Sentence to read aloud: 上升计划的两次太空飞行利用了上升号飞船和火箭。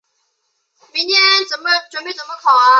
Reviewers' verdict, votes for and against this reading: rejected, 0, 3